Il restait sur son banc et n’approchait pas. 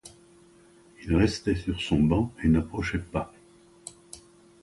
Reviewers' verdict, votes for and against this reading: accepted, 2, 0